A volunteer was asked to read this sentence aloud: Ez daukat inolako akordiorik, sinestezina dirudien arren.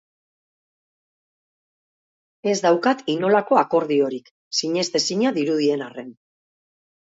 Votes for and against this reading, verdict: 4, 0, accepted